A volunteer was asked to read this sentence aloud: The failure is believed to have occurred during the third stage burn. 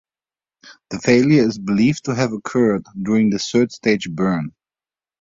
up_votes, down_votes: 1, 2